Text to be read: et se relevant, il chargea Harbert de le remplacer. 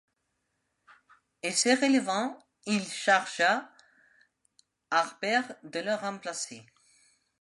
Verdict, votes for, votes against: accepted, 2, 0